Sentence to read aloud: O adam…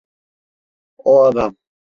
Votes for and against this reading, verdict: 2, 0, accepted